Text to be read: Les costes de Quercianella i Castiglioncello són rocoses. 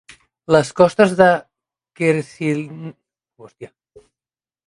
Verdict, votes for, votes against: rejected, 0, 3